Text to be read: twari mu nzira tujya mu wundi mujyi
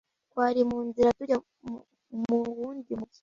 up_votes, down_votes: 0, 2